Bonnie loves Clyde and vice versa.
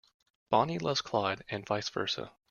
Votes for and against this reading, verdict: 2, 0, accepted